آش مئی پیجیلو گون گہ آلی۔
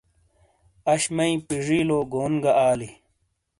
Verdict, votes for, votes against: accepted, 2, 0